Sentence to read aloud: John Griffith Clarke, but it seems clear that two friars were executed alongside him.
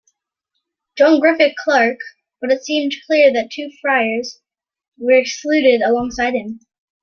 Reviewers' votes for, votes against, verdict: 1, 2, rejected